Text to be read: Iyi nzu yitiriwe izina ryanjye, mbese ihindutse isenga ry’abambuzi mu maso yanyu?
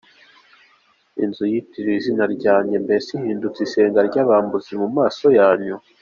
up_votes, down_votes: 2, 0